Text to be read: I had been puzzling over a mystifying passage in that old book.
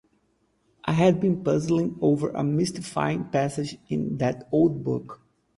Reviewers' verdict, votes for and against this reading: accepted, 4, 0